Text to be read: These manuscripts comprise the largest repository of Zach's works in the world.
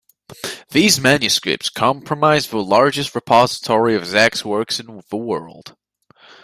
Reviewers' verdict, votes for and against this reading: accepted, 2, 0